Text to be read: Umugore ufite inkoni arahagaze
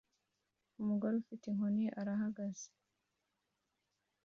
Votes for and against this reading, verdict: 2, 0, accepted